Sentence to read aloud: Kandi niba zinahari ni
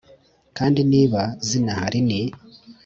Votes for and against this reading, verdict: 3, 0, accepted